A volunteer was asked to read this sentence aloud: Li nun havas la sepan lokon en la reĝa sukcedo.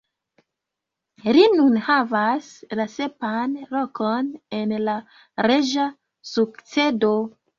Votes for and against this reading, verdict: 0, 2, rejected